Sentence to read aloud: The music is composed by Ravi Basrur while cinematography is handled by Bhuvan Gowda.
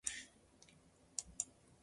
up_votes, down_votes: 1, 2